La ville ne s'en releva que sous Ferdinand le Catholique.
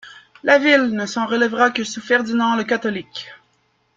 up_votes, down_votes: 1, 2